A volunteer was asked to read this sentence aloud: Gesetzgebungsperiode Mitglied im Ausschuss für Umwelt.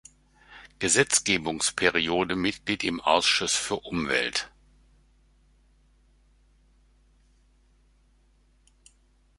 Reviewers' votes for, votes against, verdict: 2, 0, accepted